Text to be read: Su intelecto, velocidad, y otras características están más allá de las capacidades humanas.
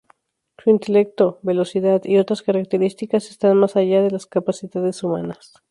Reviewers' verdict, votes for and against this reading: rejected, 0, 2